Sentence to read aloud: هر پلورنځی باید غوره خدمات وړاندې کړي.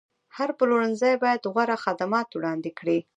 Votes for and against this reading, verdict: 1, 2, rejected